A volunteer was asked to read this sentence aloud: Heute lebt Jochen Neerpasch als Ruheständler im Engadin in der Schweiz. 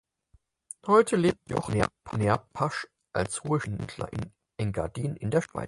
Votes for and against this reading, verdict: 0, 4, rejected